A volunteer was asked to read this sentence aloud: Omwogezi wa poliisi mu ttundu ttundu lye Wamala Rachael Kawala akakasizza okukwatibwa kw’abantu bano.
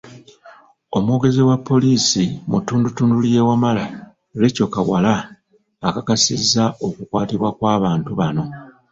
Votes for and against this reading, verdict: 1, 2, rejected